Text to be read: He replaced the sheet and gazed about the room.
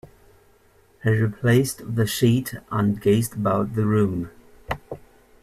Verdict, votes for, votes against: accepted, 2, 0